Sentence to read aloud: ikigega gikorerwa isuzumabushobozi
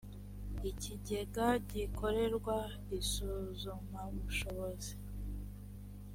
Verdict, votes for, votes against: accepted, 4, 0